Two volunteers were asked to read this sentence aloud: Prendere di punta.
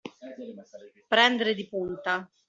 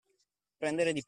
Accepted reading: first